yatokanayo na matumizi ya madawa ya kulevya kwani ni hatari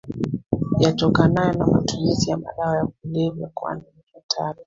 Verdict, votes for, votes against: accepted, 2, 1